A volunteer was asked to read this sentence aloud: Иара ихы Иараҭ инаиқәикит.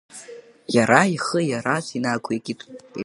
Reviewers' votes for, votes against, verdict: 0, 2, rejected